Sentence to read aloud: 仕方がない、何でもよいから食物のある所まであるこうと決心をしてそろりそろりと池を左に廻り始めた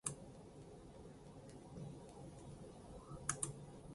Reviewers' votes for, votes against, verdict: 0, 2, rejected